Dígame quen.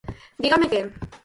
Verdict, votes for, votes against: rejected, 2, 4